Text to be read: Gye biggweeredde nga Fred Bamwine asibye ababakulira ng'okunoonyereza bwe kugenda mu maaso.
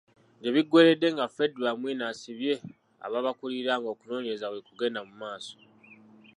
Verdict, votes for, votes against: accepted, 2, 1